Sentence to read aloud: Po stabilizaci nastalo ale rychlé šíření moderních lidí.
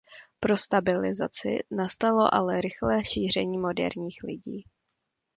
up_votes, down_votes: 0, 2